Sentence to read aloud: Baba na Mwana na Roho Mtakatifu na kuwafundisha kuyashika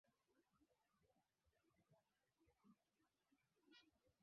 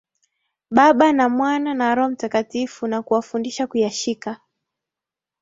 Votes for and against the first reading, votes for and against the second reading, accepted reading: 0, 2, 2, 0, second